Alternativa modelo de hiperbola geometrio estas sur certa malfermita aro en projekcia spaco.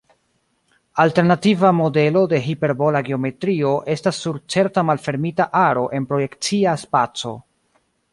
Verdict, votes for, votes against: accepted, 2, 1